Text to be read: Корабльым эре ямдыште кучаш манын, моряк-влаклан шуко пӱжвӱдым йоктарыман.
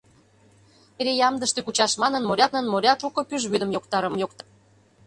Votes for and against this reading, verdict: 0, 2, rejected